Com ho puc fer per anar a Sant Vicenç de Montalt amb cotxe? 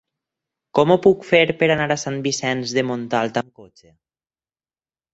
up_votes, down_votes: 0, 4